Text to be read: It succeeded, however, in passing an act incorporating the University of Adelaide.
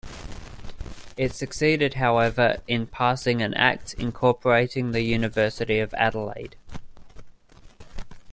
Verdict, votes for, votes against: accepted, 2, 0